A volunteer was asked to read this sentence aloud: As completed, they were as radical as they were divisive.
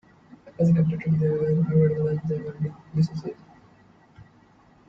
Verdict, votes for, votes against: rejected, 1, 2